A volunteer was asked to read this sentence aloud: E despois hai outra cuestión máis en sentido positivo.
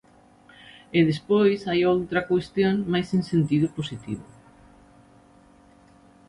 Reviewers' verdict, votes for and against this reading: accepted, 2, 0